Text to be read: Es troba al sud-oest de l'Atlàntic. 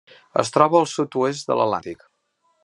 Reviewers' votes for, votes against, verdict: 1, 2, rejected